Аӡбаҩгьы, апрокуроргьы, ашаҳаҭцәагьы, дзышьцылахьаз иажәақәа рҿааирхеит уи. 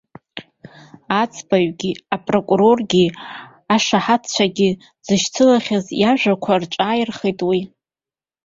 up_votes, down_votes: 1, 2